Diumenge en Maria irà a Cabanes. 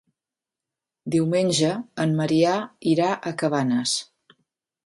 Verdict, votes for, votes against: rejected, 0, 2